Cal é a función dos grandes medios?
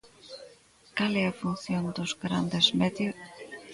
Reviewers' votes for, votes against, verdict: 0, 2, rejected